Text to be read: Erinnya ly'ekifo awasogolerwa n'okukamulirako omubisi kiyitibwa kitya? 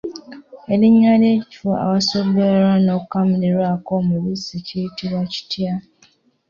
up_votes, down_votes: 2, 1